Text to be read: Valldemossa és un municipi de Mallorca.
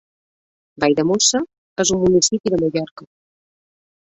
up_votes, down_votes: 1, 2